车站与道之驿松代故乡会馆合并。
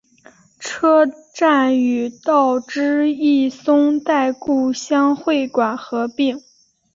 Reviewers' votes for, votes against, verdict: 4, 0, accepted